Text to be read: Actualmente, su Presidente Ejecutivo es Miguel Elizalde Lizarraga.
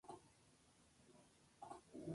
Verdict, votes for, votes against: rejected, 0, 2